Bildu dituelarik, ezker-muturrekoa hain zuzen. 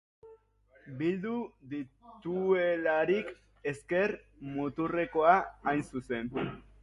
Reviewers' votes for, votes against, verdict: 2, 0, accepted